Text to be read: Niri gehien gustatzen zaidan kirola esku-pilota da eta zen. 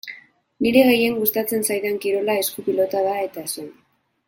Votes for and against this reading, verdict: 2, 2, rejected